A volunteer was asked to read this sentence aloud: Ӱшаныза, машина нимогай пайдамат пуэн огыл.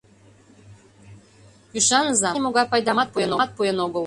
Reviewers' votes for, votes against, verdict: 0, 2, rejected